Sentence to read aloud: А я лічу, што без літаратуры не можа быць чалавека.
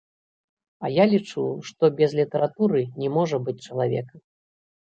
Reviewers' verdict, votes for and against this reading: accepted, 2, 0